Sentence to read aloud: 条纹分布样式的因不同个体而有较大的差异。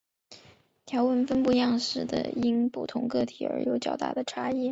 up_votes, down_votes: 2, 0